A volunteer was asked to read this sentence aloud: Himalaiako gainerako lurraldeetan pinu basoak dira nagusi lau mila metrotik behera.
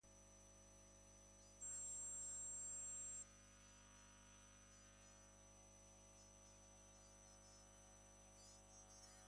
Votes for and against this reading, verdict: 0, 2, rejected